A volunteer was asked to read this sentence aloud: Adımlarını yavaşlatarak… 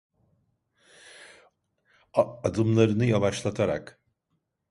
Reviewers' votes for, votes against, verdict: 0, 2, rejected